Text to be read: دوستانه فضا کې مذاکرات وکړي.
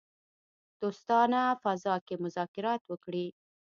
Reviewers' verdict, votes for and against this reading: accepted, 3, 0